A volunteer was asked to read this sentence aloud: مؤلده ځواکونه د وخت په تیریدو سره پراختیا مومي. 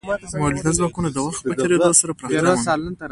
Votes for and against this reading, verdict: 2, 0, accepted